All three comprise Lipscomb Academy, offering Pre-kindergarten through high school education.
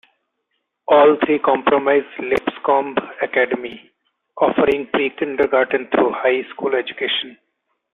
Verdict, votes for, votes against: rejected, 0, 2